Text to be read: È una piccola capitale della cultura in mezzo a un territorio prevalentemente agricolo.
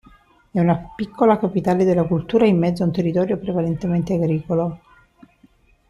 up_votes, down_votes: 2, 1